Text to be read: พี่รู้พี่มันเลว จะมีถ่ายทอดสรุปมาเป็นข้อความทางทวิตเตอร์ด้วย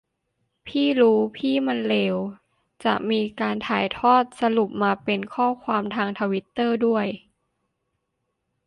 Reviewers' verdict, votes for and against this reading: rejected, 0, 2